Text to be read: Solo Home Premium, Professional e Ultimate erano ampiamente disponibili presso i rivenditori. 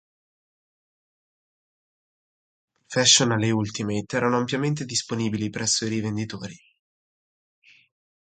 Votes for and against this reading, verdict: 1, 2, rejected